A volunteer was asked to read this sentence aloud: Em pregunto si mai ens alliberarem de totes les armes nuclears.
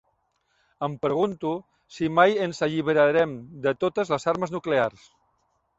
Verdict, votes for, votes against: accepted, 3, 0